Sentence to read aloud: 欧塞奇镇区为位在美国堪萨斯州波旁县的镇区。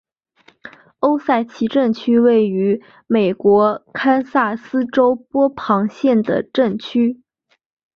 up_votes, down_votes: 4, 3